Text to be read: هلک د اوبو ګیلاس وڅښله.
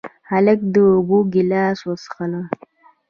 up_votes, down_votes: 2, 1